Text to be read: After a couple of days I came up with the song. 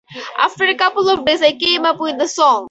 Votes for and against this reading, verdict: 4, 2, accepted